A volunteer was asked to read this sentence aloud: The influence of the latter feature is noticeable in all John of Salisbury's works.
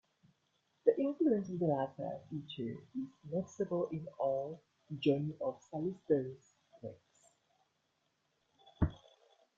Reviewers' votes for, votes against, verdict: 0, 2, rejected